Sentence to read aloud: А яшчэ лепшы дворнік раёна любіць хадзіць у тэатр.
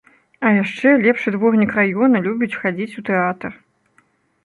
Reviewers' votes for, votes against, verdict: 2, 0, accepted